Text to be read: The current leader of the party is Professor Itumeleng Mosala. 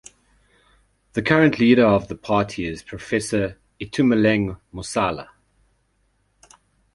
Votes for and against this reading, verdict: 2, 0, accepted